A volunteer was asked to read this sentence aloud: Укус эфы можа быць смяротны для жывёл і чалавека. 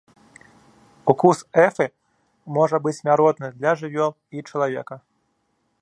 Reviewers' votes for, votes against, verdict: 2, 0, accepted